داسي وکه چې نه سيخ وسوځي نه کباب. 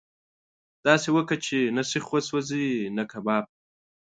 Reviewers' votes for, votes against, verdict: 2, 1, accepted